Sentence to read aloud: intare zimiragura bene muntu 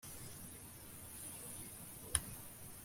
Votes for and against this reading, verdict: 1, 2, rejected